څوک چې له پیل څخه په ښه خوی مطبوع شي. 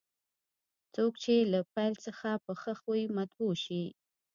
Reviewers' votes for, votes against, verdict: 1, 2, rejected